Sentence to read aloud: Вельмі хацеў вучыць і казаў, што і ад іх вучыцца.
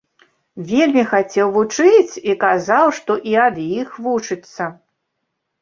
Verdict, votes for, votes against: accepted, 2, 0